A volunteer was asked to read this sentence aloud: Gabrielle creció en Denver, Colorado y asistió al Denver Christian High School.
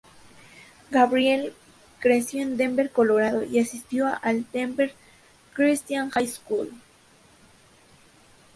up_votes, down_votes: 0, 2